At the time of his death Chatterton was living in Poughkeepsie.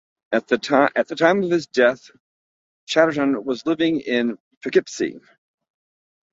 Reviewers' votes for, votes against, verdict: 2, 4, rejected